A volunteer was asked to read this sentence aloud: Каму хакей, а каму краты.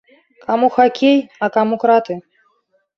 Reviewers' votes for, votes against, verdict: 2, 0, accepted